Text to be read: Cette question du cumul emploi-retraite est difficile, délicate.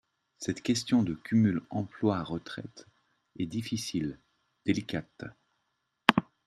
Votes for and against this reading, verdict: 0, 2, rejected